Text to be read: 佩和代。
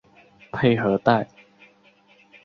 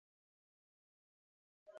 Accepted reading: first